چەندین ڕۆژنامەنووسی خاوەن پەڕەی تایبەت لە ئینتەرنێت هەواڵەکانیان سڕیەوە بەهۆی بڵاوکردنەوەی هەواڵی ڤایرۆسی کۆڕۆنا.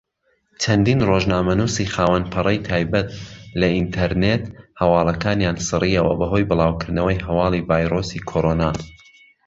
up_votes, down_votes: 2, 0